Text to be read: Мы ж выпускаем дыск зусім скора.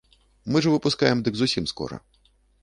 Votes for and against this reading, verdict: 1, 2, rejected